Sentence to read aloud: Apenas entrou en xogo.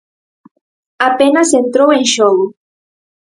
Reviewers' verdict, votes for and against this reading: accepted, 4, 0